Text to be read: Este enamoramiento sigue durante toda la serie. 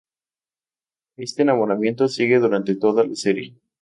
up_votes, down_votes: 0, 2